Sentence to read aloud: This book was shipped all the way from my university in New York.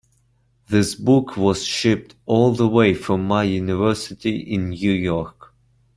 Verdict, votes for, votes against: accepted, 2, 0